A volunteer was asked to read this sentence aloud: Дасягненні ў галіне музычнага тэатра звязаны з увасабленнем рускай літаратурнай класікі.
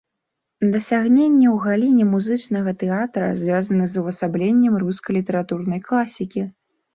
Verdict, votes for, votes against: rejected, 0, 3